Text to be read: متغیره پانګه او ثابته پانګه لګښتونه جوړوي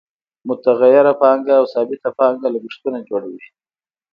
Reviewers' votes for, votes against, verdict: 2, 0, accepted